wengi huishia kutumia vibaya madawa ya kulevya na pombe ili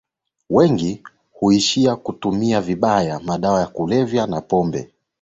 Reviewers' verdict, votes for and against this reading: accepted, 16, 1